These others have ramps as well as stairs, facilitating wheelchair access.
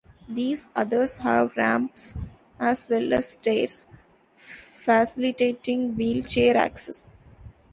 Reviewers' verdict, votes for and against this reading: accepted, 2, 0